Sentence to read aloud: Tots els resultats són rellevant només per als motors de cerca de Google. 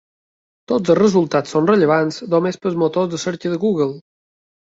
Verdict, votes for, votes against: accepted, 2, 1